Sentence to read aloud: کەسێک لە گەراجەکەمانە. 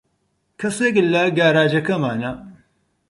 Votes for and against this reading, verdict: 0, 4, rejected